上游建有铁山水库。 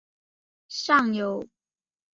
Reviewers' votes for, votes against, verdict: 0, 2, rejected